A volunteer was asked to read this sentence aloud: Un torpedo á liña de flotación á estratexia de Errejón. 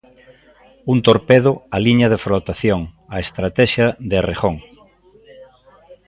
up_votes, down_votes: 0, 2